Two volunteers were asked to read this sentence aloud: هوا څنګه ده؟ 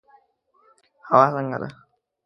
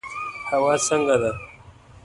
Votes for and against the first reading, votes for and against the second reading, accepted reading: 1, 2, 2, 1, second